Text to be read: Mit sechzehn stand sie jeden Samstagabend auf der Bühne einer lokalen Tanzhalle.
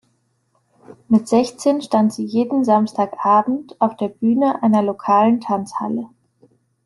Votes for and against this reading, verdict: 3, 0, accepted